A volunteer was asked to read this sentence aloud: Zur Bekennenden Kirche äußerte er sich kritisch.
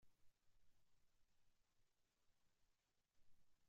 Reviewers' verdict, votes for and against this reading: rejected, 0, 2